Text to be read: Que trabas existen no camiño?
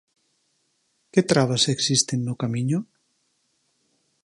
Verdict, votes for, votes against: accepted, 6, 0